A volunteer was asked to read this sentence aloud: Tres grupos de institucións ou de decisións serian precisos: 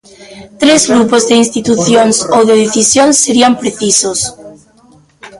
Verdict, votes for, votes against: rejected, 0, 2